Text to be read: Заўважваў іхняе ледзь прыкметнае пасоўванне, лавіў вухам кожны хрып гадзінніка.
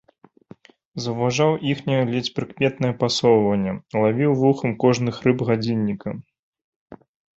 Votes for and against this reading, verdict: 0, 2, rejected